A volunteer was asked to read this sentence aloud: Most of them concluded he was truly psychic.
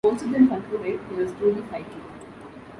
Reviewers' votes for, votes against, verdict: 0, 2, rejected